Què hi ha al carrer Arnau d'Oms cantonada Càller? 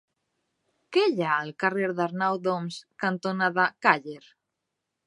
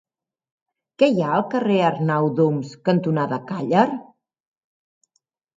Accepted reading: second